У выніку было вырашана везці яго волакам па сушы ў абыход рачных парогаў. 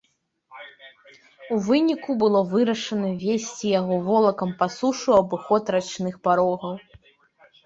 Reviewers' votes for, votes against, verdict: 1, 2, rejected